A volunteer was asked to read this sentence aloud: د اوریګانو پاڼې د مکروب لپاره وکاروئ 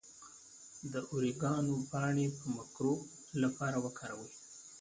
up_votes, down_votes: 1, 2